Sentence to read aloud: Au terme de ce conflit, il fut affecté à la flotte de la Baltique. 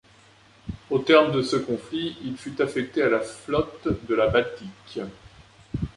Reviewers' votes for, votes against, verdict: 2, 1, accepted